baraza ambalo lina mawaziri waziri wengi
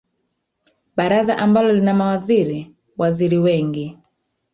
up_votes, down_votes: 1, 2